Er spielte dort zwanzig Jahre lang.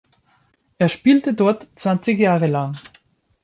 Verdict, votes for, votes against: accepted, 2, 0